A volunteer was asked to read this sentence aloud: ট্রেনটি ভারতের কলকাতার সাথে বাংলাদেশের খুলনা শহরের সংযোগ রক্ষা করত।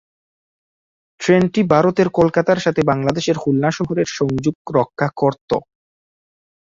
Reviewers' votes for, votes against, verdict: 0, 2, rejected